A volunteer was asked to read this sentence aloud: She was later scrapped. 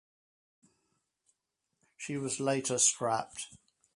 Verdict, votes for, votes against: accepted, 4, 0